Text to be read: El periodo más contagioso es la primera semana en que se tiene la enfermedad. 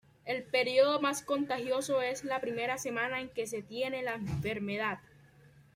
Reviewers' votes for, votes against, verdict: 2, 1, accepted